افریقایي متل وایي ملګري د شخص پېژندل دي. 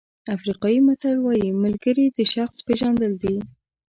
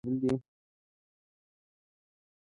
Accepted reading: first